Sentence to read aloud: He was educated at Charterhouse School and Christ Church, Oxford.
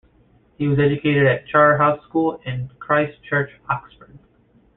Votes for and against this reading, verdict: 2, 1, accepted